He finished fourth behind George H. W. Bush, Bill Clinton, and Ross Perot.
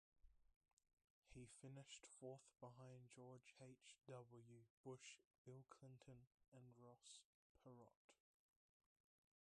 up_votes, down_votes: 1, 2